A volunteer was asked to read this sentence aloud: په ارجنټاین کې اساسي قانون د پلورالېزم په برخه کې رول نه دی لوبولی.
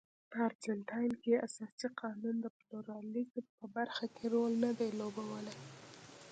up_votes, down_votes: 0, 2